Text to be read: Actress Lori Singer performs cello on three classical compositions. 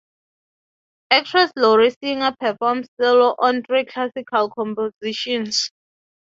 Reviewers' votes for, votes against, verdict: 6, 0, accepted